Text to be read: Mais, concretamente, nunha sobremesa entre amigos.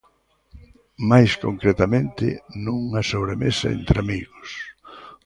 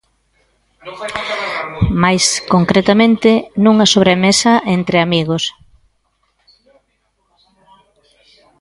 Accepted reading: first